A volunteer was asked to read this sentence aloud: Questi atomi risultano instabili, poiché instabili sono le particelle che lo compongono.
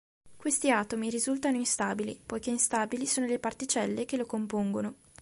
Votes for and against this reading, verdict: 2, 0, accepted